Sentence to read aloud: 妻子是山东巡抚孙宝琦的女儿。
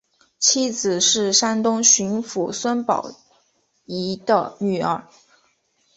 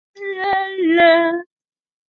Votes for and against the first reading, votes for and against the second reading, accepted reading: 2, 0, 0, 2, first